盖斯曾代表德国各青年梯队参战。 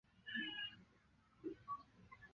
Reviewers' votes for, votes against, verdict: 1, 2, rejected